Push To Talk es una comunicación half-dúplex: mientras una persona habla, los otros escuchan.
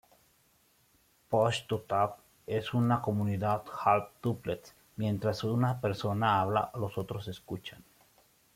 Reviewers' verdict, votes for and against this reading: rejected, 0, 2